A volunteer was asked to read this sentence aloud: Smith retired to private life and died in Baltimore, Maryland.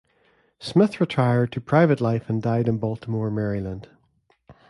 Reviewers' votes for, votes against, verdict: 2, 0, accepted